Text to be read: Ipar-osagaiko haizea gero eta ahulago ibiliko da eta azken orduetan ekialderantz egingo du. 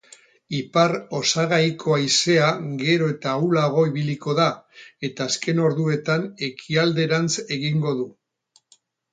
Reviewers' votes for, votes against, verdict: 4, 0, accepted